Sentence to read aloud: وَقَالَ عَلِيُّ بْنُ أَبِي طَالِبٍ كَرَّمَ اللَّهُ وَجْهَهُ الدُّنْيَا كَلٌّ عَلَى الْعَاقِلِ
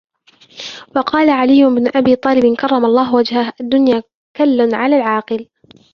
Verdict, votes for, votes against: accepted, 3, 1